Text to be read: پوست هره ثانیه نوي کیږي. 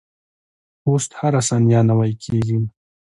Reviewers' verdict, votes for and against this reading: accepted, 2, 0